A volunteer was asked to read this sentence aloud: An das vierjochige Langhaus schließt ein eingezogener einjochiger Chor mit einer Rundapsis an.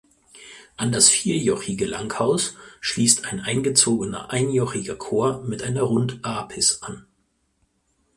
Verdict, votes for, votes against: rejected, 2, 4